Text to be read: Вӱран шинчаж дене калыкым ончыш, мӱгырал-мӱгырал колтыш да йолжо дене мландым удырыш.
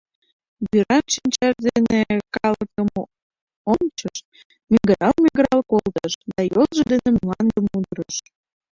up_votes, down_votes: 0, 2